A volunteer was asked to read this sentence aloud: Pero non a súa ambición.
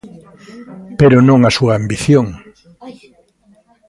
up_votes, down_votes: 0, 2